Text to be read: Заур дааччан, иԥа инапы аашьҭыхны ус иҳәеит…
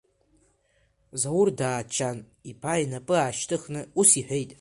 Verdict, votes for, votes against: accepted, 3, 1